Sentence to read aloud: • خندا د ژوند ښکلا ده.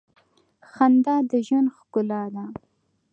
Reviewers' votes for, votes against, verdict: 2, 0, accepted